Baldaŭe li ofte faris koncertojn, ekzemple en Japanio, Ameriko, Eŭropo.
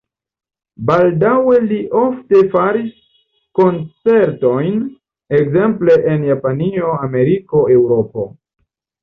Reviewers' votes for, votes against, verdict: 2, 0, accepted